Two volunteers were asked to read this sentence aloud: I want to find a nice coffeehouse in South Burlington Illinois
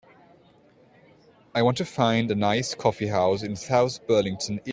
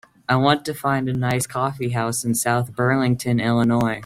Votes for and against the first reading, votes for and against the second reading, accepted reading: 0, 2, 4, 0, second